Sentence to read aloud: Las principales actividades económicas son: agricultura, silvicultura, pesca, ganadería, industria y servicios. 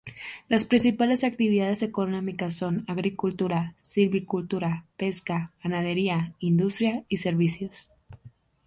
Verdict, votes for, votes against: accepted, 2, 0